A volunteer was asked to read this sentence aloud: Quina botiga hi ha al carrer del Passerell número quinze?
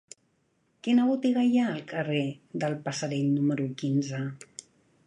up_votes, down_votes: 2, 0